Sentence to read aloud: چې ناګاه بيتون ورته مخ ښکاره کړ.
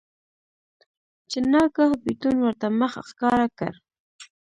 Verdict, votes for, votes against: rejected, 1, 2